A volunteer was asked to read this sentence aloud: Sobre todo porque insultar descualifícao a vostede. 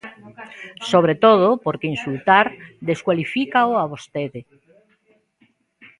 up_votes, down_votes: 1, 2